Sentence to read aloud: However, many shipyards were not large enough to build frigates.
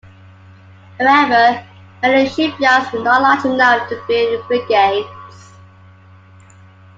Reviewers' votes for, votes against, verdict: 2, 1, accepted